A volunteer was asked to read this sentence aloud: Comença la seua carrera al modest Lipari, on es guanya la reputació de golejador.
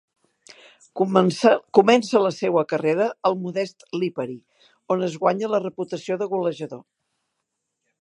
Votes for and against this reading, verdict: 1, 3, rejected